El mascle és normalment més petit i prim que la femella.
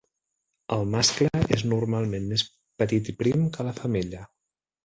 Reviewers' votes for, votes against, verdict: 0, 2, rejected